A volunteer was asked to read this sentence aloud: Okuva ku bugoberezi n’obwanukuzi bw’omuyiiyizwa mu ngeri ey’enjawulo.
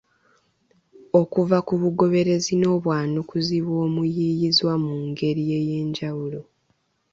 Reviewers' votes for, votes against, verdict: 2, 0, accepted